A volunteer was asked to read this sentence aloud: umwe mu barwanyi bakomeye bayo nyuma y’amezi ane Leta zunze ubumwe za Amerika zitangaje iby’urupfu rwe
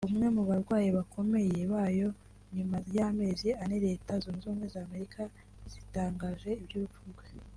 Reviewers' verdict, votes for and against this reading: rejected, 1, 2